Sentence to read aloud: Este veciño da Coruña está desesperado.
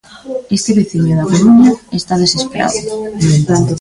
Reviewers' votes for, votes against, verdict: 1, 2, rejected